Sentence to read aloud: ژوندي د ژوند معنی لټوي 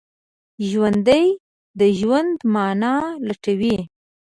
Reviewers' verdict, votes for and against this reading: accepted, 3, 1